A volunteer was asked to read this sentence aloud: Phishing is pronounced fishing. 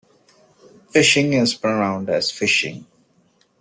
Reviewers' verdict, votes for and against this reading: rejected, 0, 2